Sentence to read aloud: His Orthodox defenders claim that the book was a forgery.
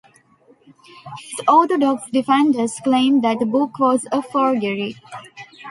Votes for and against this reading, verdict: 0, 2, rejected